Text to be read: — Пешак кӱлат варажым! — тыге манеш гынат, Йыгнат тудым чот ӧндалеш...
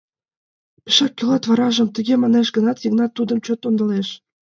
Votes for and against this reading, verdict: 1, 2, rejected